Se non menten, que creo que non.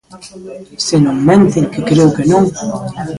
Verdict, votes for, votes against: rejected, 1, 2